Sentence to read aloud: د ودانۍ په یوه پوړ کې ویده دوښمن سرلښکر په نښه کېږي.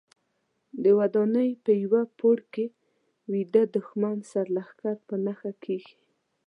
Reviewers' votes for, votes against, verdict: 2, 1, accepted